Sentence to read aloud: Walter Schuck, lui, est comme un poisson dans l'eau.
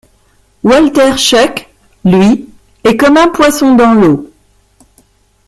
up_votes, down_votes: 2, 1